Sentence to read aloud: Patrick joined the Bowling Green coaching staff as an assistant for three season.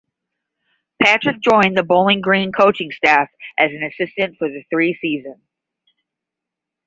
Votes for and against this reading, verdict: 5, 10, rejected